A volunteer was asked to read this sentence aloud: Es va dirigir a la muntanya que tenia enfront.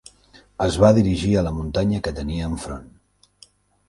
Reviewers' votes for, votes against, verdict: 3, 0, accepted